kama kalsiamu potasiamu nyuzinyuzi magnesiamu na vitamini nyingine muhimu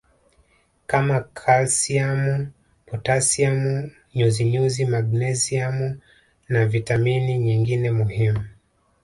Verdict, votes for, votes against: accepted, 2, 0